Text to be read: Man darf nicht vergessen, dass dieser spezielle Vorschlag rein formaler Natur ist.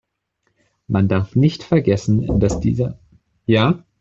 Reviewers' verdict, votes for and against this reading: rejected, 0, 2